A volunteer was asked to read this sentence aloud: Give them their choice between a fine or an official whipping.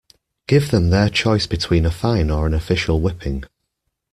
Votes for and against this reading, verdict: 2, 0, accepted